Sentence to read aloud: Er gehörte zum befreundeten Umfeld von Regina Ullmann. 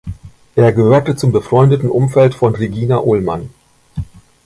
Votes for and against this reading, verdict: 2, 0, accepted